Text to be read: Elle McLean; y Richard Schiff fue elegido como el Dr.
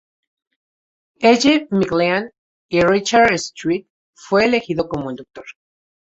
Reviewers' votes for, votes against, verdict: 2, 0, accepted